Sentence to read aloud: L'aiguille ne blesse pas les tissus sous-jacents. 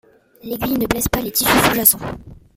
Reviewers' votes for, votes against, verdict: 1, 2, rejected